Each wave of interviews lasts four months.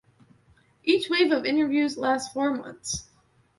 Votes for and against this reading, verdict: 2, 0, accepted